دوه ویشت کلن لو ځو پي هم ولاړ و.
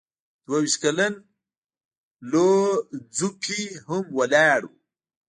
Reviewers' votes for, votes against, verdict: 0, 2, rejected